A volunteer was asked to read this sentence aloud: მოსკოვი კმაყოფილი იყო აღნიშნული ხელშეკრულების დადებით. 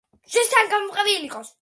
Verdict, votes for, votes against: rejected, 0, 2